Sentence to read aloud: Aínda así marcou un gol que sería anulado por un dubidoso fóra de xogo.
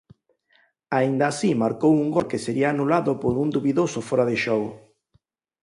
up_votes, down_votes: 4, 0